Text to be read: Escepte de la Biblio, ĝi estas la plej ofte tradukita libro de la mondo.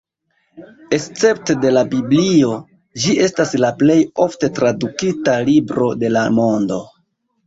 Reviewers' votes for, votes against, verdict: 0, 2, rejected